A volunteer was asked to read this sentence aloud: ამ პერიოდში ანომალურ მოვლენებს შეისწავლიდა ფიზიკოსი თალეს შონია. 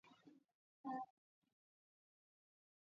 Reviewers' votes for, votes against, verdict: 1, 2, rejected